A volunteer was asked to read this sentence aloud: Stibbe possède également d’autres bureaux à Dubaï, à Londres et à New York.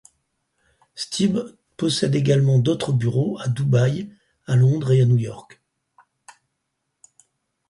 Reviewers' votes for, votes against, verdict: 4, 0, accepted